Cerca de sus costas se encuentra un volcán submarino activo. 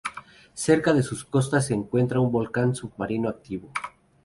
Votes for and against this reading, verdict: 2, 2, rejected